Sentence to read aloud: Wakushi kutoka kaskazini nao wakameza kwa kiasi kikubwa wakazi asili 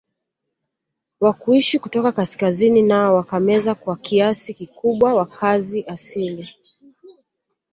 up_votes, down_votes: 2, 1